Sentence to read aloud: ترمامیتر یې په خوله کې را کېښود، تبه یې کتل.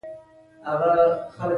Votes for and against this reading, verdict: 2, 0, accepted